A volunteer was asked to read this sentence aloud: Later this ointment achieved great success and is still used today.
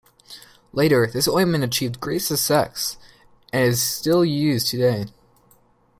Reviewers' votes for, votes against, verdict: 0, 2, rejected